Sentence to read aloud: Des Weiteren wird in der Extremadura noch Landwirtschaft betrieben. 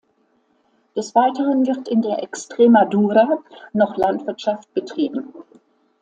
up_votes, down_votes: 2, 0